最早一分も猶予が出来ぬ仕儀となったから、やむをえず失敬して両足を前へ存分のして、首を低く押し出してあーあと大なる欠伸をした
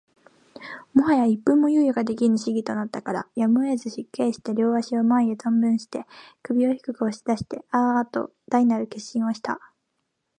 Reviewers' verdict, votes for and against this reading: accepted, 2, 0